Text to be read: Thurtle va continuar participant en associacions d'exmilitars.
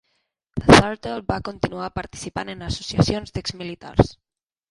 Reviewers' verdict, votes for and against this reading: rejected, 1, 2